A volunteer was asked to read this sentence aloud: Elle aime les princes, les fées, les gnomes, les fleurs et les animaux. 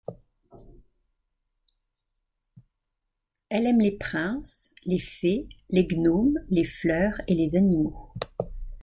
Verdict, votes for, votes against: accepted, 2, 0